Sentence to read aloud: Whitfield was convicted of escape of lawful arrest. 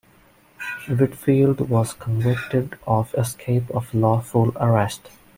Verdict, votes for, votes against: accepted, 2, 0